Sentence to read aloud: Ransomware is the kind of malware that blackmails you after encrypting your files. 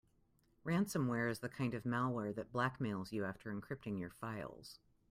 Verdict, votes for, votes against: accepted, 2, 0